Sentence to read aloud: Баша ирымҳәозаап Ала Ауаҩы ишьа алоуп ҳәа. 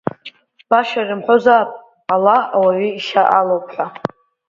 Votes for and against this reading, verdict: 5, 0, accepted